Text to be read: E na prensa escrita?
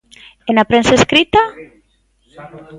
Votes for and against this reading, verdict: 1, 2, rejected